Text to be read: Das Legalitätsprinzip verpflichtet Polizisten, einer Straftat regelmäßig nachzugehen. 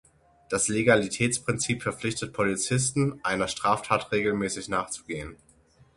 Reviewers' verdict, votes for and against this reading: accepted, 6, 0